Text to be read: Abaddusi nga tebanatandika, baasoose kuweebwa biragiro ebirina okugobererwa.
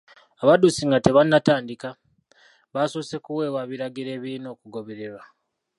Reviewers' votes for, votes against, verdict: 0, 2, rejected